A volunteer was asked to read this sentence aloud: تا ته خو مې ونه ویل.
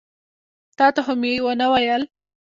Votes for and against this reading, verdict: 1, 2, rejected